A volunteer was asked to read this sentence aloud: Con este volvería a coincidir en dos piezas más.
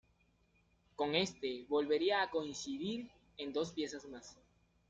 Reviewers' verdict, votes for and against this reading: accepted, 2, 1